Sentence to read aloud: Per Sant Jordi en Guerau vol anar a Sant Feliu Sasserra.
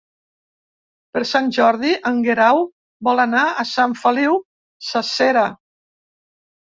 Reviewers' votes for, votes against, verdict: 2, 3, rejected